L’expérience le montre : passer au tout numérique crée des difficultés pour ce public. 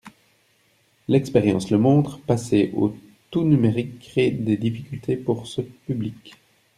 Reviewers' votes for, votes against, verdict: 2, 0, accepted